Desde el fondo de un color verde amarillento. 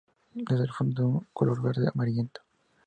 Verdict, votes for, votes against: rejected, 0, 2